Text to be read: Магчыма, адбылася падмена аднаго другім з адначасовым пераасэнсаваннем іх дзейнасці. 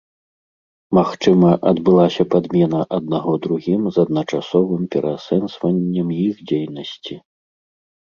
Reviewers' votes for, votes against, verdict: 0, 2, rejected